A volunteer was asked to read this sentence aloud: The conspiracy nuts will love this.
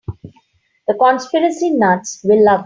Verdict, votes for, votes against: rejected, 0, 3